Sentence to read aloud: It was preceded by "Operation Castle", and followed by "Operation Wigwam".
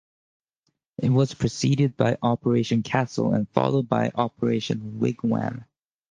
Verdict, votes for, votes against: accepted, 2, 0